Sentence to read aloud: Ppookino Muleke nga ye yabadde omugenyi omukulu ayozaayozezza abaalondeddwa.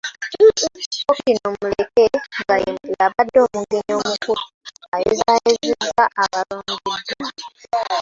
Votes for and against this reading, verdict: 0, 2, rejected